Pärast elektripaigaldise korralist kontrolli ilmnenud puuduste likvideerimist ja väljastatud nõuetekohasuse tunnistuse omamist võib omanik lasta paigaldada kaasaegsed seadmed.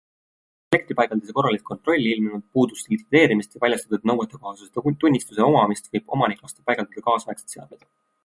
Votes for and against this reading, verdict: 1, 2, rejected